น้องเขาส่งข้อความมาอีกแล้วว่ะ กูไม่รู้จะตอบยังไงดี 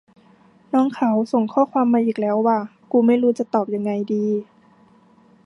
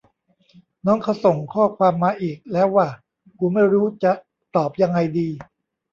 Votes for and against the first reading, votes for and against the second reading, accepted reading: 2, 0, 0, 2, first